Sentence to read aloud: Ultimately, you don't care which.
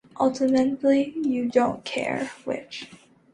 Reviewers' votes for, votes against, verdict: 2, 0, accepted